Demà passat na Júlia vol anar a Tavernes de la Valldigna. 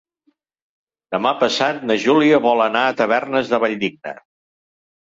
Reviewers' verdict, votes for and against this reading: rejected, 1, 2